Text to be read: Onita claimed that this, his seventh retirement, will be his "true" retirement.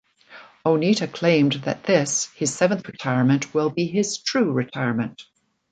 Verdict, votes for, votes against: accepted, 2, 0